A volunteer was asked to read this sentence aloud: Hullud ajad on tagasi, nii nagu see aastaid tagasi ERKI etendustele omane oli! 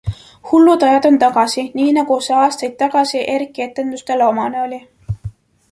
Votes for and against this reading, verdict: 2, 1, accepted